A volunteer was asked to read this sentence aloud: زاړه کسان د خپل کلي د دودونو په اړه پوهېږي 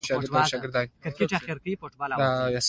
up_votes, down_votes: 2, 0